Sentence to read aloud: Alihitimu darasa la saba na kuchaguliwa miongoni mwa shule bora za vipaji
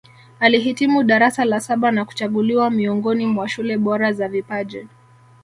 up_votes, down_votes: 2, 0